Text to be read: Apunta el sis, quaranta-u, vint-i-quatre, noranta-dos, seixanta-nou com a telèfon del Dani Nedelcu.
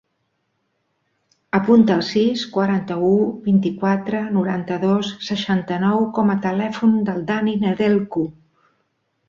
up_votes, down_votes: 2, 0